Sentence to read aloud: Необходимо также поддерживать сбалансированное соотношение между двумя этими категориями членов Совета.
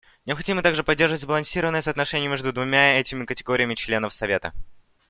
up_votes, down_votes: 2, 0